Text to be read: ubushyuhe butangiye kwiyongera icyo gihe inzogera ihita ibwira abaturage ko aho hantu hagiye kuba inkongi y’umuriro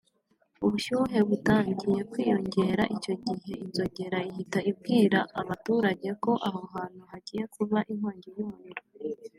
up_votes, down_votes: 2, 1